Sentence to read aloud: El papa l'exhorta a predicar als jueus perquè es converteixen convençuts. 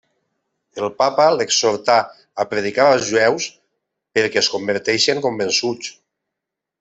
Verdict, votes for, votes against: rejected, 0, 2